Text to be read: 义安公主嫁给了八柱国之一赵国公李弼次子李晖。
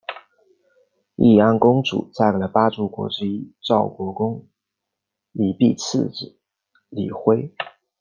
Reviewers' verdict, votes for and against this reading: accepted, 2, 0